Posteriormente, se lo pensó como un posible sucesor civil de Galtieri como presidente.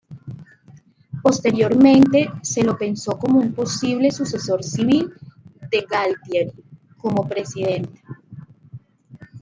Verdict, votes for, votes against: accepted, 2, 0